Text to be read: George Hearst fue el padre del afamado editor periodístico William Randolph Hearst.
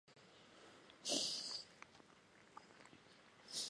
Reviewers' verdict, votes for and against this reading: rejected, 0, 4